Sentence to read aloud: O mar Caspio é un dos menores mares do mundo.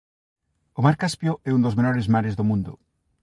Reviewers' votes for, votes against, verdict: 2, 0, accepted